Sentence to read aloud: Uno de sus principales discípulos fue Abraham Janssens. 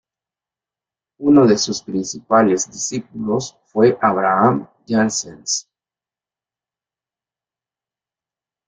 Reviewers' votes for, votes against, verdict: 0, 2, rejected